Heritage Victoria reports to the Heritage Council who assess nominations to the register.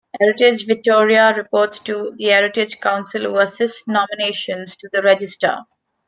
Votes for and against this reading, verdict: 2, 1, accepted